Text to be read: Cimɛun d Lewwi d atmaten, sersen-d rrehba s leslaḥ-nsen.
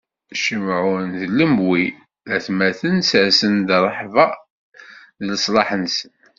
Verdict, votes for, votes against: rejected, 1, 2